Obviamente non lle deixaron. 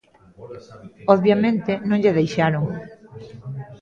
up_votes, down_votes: 0, 2